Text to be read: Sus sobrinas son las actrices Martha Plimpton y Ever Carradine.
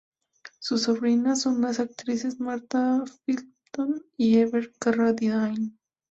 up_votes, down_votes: 0, 4